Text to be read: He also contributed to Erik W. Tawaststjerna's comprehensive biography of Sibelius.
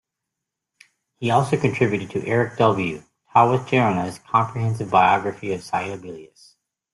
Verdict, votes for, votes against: rejected, 0, 2